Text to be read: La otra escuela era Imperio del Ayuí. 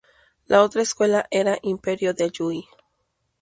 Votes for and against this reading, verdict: 0, 2, rejected